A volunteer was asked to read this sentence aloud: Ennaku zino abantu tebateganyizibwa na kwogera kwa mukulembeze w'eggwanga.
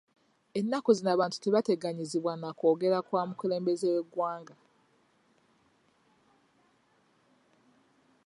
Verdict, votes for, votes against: accepted, 2, 0